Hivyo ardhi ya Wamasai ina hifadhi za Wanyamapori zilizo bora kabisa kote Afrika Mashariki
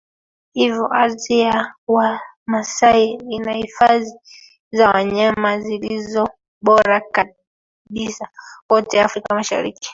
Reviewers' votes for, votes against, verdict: 0, 2, rejected